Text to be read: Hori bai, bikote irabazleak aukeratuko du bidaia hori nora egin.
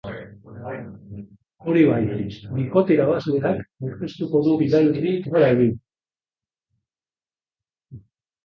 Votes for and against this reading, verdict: 1, 3, rejected